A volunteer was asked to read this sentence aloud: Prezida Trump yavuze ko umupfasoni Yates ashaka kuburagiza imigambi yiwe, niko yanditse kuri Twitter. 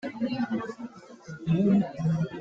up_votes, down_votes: 0, 3